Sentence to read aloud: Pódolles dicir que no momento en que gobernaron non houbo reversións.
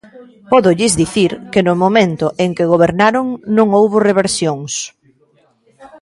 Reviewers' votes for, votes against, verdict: 2, 0, accepted